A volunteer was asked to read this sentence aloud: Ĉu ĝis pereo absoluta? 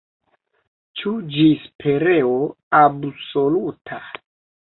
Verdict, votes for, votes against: accepted, 2, 1